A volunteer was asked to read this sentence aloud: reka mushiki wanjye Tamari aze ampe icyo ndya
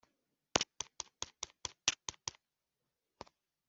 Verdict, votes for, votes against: rejected, 0, 2